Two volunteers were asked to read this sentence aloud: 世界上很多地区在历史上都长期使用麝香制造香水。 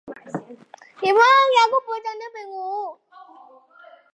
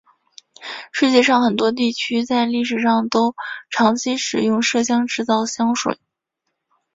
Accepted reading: second